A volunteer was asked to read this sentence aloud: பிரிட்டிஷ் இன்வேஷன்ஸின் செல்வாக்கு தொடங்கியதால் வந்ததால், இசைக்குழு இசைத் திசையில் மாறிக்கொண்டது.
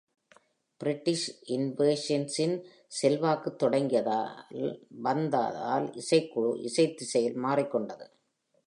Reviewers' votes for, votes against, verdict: 1, 2, rejected